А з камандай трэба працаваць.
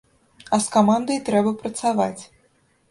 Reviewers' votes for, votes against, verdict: 2, 0, accepted